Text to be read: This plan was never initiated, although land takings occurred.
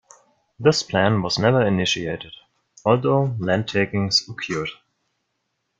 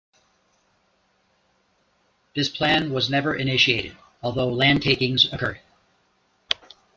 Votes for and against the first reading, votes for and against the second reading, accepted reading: 1, 2, 2, 0, second